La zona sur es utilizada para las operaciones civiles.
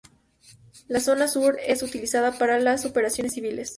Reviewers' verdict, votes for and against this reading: accepted, 2, 0